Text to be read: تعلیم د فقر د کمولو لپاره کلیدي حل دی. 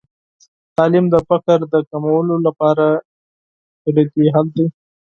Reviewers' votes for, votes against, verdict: 4, 0, accepted